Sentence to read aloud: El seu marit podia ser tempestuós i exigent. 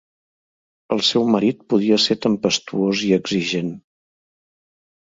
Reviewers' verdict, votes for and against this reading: accepted, 2, 0